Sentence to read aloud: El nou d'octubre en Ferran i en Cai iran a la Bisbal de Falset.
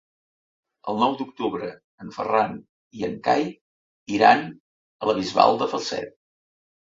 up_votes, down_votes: 2, 0